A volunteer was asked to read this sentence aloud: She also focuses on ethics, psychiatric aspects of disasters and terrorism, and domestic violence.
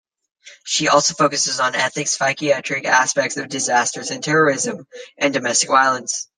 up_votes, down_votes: 1, 2